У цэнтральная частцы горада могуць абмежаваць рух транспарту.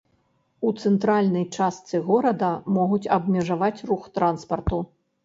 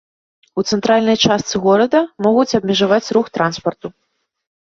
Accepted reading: second